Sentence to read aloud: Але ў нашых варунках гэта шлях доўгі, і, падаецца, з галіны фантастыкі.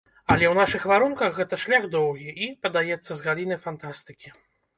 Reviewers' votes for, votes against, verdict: 0, 2, rejected